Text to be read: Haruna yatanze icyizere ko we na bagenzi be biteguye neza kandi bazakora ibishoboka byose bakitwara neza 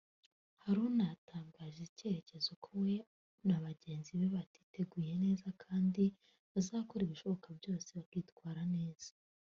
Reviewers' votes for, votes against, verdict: 0, 2, rejected